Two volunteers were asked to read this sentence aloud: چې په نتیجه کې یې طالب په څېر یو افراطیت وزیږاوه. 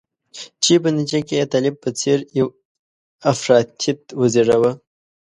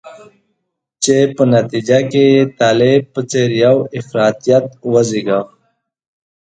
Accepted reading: second